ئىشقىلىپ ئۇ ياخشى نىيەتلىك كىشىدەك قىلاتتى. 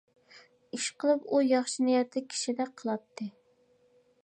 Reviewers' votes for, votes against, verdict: 2, 0, accepted